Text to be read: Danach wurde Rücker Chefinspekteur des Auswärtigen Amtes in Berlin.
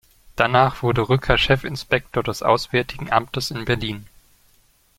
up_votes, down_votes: 1, 2